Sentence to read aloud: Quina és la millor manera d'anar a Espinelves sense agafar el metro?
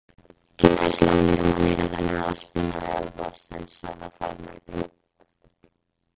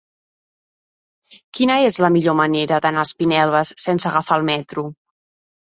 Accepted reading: second